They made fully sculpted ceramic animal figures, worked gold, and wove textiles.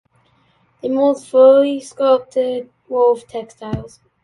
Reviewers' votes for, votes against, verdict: 0, 2, rejected